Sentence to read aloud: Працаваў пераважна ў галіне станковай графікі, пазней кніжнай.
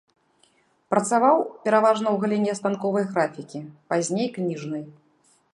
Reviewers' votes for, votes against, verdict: 2, 0, accepted